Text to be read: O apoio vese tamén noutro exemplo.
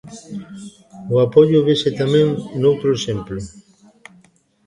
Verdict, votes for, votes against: rejected, 0, 2